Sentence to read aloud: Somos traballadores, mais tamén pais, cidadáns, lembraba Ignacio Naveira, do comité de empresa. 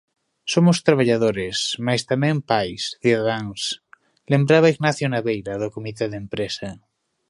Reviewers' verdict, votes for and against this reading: accepted, 2, 1